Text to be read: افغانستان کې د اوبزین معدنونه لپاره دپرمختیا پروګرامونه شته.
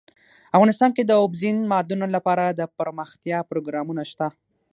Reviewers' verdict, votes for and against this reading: accepted, 6, 0